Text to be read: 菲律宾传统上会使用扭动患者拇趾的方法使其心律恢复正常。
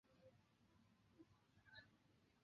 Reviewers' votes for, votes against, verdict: 0, 3, rejected